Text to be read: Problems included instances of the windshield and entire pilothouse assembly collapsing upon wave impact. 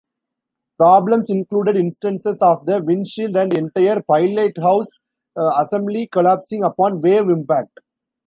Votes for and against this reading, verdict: 0, 2, rejected